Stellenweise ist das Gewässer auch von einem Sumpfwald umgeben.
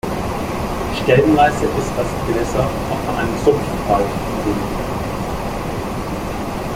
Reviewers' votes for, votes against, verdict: 1, 3, rejected